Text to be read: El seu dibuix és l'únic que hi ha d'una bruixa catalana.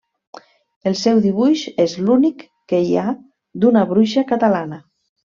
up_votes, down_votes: 3, 0